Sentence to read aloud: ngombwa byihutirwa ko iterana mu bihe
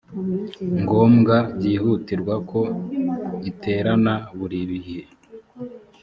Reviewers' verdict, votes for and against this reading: rejected, 0, 2